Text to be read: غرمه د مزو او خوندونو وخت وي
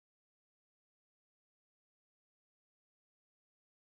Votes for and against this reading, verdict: 1, 2, rejected